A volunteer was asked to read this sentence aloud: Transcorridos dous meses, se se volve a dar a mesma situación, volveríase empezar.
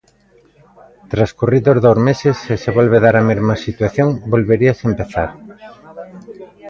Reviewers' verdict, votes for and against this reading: rejected, 0, 2